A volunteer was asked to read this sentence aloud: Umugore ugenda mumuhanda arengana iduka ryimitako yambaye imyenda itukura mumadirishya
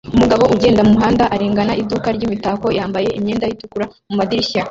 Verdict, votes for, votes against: rejected, 0, 2